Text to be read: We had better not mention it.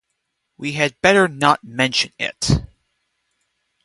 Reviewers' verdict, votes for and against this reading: accepted, 2, 0